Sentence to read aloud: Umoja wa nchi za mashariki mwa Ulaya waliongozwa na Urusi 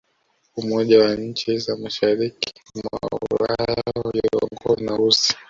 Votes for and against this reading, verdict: 0, 3, rejected